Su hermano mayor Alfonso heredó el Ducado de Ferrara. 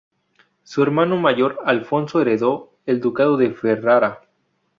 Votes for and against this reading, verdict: 0, 2, rejected